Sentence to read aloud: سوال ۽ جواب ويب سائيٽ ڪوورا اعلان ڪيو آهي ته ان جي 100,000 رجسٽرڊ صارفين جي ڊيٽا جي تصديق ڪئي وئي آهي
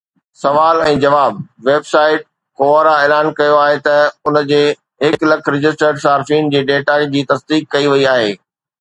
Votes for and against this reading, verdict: 0, 2, rejected